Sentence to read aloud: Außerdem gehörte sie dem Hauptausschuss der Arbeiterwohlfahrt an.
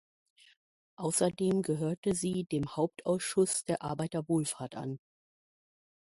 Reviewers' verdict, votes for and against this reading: accepted, 2, 0